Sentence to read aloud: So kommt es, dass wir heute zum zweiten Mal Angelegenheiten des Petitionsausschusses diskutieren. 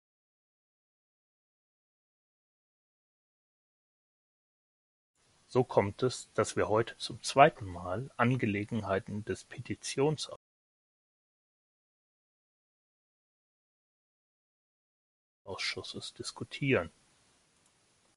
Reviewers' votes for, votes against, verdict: 0, 2, rejected